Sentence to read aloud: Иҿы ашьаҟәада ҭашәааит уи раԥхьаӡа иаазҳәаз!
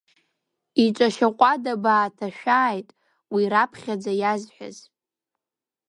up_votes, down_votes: 1, 2